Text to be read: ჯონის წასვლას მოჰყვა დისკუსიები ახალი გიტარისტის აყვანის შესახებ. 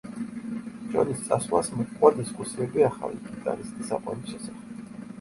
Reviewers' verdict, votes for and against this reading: rejected, 0, 2